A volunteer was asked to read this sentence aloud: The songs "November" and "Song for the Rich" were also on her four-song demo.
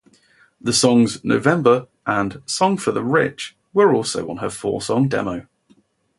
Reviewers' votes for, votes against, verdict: 2, 0, accepted